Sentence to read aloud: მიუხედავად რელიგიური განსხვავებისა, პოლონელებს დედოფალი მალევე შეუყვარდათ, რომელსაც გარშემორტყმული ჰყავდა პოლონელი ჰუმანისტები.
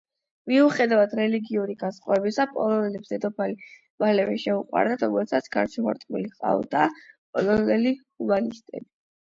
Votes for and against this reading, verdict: 8, 0, accepted